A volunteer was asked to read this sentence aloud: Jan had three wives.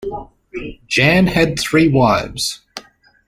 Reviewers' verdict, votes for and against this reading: accepted, 2, 0